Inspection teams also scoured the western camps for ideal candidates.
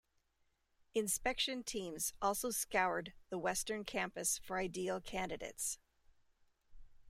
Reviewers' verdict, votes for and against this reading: rejected, 1, 2